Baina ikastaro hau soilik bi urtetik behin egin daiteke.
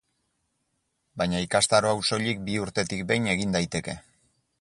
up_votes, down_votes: 8, 2